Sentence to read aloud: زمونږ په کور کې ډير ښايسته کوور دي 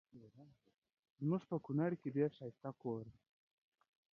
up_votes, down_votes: 0, 2